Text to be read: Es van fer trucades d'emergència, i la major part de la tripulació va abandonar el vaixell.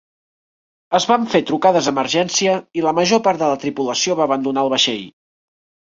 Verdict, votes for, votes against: rejected, 0, 2